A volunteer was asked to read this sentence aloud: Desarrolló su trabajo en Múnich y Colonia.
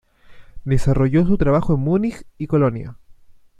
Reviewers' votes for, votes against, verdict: 1, 2, rejected